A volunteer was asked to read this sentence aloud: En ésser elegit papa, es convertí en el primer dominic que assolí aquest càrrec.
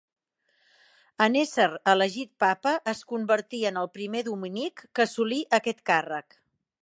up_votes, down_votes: 2, 1